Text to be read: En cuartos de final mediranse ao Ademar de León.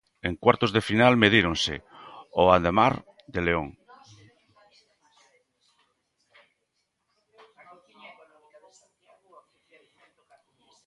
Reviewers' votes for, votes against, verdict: 0, 2, rejected